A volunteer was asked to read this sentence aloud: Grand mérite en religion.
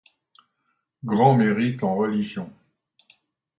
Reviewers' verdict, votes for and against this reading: accepted, 2, 0